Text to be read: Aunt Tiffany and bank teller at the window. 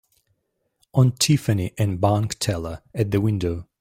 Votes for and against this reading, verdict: 0, 3, rejected